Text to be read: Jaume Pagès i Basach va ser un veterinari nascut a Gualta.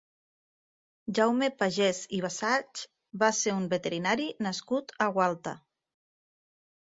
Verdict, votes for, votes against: rejected, 1, 2